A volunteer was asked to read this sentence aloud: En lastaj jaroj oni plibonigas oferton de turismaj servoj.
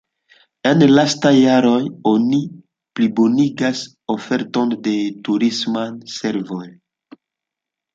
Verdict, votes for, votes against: accepted, 2, 0